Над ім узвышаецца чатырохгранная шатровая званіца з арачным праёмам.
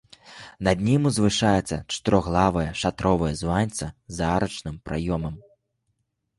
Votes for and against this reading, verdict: 0, 2, rejected